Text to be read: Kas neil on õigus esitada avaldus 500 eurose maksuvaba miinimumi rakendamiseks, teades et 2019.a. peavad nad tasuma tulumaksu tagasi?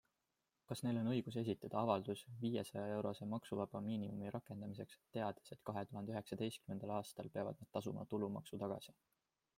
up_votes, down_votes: 0, 2